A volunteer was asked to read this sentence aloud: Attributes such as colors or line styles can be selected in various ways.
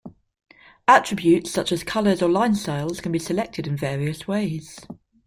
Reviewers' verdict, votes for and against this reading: accepted, 2, 0